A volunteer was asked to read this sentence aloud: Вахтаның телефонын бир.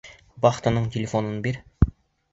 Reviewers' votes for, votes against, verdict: 2, 0, accepted